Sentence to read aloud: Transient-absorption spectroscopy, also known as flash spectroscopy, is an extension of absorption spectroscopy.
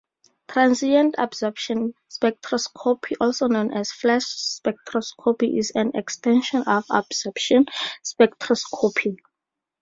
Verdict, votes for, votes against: accepted, 2, 0